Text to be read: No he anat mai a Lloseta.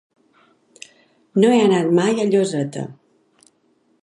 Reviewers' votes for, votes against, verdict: 3, 0, accepted